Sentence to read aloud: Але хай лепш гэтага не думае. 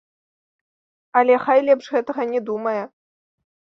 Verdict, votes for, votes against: accepted, 2, 0